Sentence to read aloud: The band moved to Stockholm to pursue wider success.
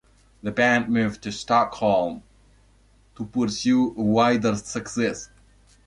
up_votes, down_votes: 2, 0